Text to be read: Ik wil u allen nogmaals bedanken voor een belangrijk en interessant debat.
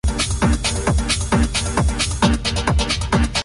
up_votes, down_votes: 0, 2